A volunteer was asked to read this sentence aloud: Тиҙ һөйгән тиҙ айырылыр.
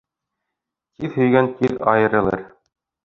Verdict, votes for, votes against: rejected, 0, 3